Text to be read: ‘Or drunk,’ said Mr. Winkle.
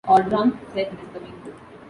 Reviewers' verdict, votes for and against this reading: accepted, 2, 0